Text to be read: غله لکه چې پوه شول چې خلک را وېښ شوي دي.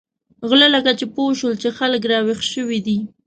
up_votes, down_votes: 2, 0